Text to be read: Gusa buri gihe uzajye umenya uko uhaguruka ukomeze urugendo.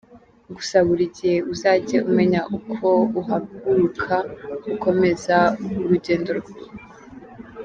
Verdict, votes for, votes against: rejected, 0, 2